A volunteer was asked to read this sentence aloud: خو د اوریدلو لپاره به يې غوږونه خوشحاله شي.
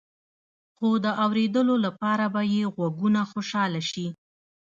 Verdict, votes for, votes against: accepted, 2, 1